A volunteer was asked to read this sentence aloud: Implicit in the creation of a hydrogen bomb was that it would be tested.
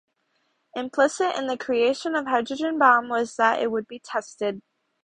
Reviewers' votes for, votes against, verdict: 0, 2, rejected